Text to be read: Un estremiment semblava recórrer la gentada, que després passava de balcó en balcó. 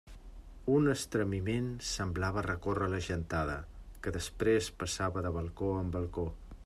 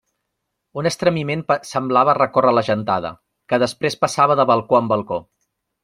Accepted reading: first